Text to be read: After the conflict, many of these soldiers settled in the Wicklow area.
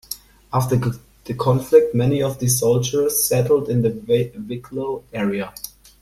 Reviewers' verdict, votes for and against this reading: rejected, 0, 2